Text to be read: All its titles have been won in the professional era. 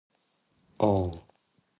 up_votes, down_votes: 0, 2